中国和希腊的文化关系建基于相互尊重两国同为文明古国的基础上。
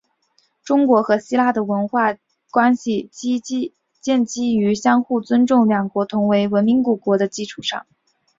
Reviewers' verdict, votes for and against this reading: rejected, 0, 3